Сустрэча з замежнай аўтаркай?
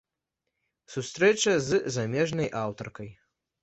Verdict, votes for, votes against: accepted, 2, 0